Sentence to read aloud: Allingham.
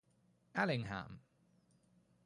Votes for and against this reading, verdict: 4, 0, accepted